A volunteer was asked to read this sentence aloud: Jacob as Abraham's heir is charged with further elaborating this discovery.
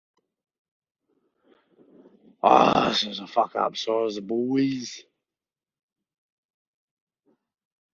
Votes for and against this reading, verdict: 0, 2, rejected